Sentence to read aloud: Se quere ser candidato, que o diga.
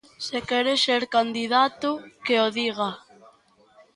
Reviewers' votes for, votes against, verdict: 2, 1, accepted